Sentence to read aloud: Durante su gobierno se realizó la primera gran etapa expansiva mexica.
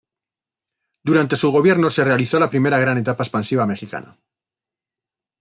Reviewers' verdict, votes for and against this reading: rejected, 1, 2